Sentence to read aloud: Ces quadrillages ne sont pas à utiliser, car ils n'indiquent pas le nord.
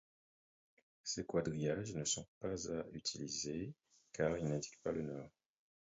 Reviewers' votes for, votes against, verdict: 0, 4, rejected